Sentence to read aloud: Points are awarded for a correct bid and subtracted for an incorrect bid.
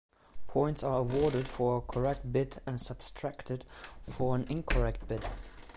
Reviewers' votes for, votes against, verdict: 2, 0, accepted